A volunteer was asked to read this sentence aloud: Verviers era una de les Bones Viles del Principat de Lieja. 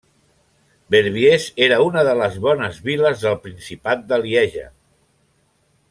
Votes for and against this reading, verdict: 2, 0, accepted